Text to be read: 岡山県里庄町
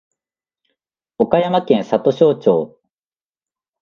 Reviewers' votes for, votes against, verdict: 6, 1, accepted